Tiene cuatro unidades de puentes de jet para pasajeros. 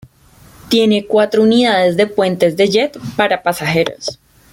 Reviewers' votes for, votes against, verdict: 2, 0, accepted